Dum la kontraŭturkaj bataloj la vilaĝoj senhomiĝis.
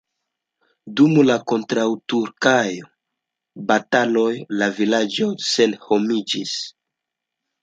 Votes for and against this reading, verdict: 2, 1, accepted